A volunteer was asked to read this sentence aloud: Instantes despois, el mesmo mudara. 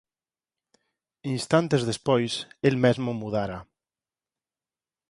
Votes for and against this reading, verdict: 4, 0, accepted